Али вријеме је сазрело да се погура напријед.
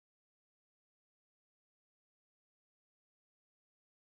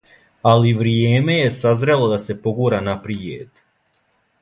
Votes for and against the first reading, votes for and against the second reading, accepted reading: 0, 2, 2, 0, second